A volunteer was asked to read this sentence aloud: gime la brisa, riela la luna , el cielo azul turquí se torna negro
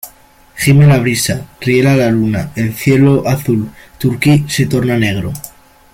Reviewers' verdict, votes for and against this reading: accepted, 2, 0